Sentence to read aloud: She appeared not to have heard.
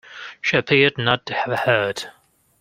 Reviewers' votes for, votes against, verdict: 2, 0, accepted